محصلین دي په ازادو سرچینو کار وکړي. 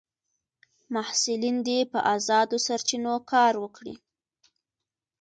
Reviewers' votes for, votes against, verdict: 2, 1, accepted